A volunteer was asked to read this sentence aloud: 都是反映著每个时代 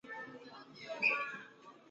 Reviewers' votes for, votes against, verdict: 1, 4, rejected